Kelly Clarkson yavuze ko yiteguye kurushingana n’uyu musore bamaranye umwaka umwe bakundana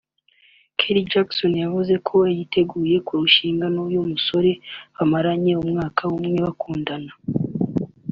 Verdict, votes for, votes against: rejected, 0, 2